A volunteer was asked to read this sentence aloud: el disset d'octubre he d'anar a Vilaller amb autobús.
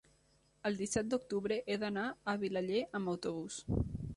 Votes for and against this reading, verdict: 3, 0, accepted